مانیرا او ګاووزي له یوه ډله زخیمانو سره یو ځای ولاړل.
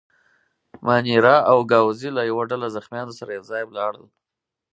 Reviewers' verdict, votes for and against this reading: accepted, 4, 0